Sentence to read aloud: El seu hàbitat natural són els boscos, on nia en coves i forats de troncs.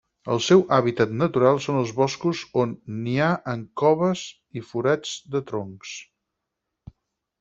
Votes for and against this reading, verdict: 2, 4, rejected